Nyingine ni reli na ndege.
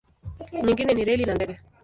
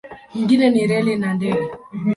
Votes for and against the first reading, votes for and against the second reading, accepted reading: 0, 2, 12, 2, second